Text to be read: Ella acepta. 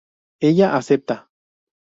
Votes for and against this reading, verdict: 2, 0, accepted